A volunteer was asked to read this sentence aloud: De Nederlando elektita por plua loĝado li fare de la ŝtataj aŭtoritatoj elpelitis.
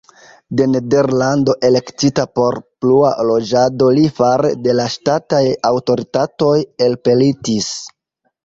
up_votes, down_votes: 1, 2